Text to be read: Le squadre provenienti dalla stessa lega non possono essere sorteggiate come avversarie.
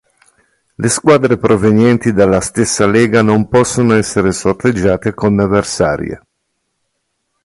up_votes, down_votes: 2, 0